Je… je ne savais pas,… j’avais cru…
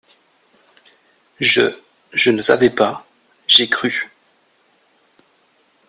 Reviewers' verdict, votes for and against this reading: rejected, 1, 2